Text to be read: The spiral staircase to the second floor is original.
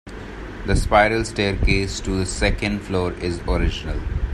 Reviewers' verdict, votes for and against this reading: accepted, 2, 0